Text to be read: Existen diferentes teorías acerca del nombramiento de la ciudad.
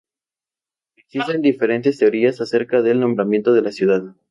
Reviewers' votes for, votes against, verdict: 2, 0, accepted